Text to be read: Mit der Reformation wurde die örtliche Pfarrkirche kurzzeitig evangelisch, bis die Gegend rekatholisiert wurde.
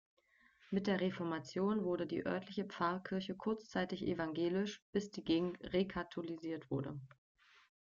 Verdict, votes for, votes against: accepted, 2, 1